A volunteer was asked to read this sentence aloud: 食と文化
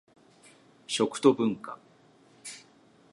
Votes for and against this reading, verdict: 2, 0, accepted